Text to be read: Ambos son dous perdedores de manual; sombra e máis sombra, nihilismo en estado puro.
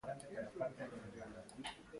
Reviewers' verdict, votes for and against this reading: rejected, 0, 3